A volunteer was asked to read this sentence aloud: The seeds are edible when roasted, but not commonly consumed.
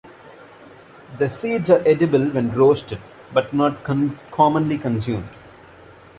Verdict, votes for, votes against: rejected, 1, 2